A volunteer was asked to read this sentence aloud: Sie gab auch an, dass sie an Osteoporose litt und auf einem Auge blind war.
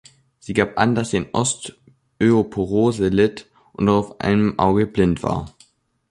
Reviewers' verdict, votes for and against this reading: rejected, 0, 3